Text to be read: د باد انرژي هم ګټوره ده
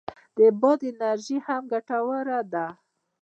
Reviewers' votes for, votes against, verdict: 2, 0, accepted